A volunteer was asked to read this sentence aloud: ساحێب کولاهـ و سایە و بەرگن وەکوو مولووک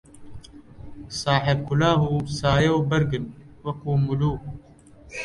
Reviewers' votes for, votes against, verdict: 2, 0, accepted